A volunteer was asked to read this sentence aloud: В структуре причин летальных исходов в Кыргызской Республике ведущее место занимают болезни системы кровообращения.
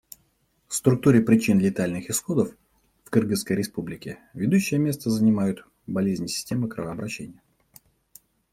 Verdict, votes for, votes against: accepted, 2, 0